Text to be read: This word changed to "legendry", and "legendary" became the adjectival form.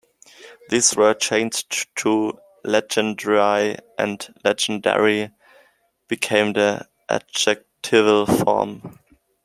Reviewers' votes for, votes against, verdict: 1, 2, rejected